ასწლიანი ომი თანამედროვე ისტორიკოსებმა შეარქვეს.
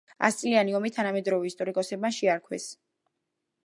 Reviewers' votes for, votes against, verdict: 2, 0, accepted